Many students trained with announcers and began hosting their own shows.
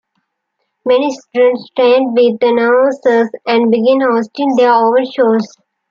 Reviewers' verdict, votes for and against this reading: accepted, 2, 0